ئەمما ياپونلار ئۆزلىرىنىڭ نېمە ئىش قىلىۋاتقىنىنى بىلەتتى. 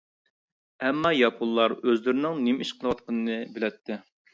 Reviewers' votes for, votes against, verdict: 2, 0, accepted